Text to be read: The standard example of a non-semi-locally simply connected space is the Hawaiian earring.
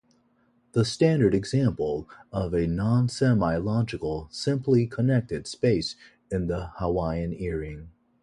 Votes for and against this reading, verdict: 1, 2, rejected